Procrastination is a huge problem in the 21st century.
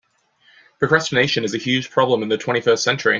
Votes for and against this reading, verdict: 0, 2, rejected